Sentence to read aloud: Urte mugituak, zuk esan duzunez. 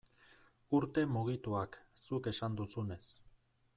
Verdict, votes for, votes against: accepted, 2, 0